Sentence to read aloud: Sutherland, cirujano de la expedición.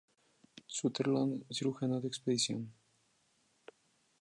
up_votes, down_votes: 0, 2